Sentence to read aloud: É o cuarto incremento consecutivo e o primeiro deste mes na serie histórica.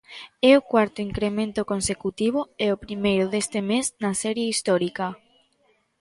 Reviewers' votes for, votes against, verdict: 2, 0, accepted